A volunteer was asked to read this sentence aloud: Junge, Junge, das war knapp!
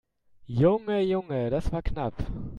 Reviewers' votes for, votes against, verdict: 2, 0, accepted